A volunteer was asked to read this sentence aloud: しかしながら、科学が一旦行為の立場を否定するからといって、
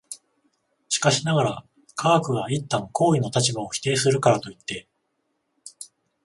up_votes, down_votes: 14, 0